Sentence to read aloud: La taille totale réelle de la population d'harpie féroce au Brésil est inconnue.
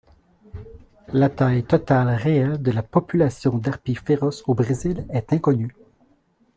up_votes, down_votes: 0, 2